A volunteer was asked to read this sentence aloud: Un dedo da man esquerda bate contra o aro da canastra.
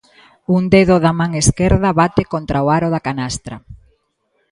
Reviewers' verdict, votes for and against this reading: accepted, 2, 0